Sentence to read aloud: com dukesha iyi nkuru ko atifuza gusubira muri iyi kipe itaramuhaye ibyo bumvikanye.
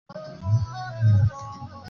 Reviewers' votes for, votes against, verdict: 0, 2, rejected